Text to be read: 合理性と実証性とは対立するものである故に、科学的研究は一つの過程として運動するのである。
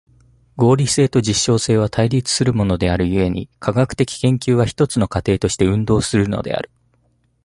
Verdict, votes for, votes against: rejected, 1, 2